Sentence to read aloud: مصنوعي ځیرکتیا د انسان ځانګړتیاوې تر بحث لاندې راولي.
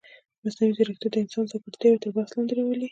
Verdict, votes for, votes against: accepted, 2, 0